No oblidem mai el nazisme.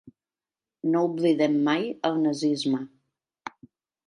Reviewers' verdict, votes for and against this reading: accepted, 4, 0